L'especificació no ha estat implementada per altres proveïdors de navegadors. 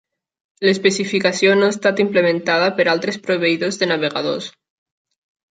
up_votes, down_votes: 3, 0